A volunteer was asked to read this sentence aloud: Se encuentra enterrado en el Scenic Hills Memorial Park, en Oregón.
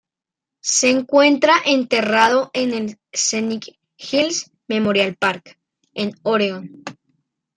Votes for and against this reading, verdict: 2, 0, accepted